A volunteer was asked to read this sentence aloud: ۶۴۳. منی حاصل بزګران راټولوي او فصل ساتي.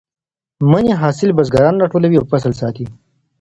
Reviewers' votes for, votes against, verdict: 0, 2, rejected